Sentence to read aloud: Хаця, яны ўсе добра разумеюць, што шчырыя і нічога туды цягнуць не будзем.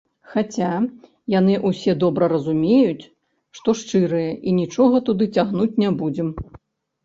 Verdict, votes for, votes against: rejected, 1, 2